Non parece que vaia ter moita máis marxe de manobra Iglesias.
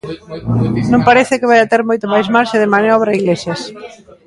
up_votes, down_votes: 1, 2